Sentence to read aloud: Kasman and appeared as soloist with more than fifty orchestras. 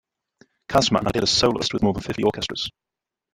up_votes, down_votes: 0, 2